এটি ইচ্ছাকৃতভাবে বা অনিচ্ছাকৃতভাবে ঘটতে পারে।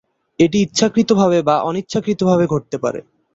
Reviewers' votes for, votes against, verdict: 2, 0, accepted